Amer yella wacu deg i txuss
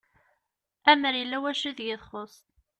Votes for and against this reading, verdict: 2, 0, accepted